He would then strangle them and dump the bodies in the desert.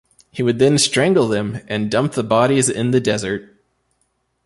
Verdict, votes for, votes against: accepted, 2, 1